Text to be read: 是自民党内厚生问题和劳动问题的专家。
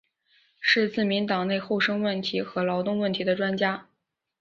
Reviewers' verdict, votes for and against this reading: accepted, 2, 0